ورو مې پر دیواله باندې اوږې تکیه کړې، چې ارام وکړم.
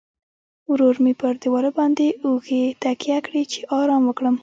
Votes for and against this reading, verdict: 1, 2, rejected